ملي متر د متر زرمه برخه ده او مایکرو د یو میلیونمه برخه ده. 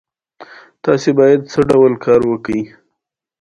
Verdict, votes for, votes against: accepted, 2, 0